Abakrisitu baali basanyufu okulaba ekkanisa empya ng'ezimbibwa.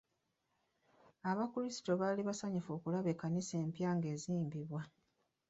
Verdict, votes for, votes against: rejected, 1, 2